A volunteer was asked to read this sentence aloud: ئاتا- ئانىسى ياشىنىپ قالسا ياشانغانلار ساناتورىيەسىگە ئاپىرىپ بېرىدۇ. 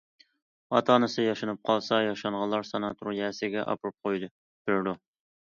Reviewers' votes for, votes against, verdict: 0, 2, rejected